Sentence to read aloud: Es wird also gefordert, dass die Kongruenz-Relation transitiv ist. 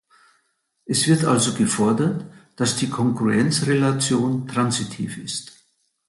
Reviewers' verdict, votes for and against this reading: accepted, 2, 0